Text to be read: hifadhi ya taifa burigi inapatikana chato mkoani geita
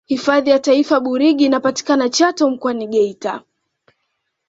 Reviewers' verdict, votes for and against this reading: accepted, 2, 0